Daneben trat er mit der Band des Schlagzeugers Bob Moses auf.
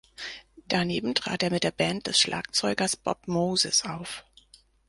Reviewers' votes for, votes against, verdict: 4, 0, accepted